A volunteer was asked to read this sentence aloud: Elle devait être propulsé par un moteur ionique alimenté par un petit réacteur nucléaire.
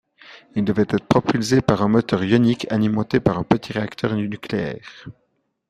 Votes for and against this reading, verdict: 0, 2, rejected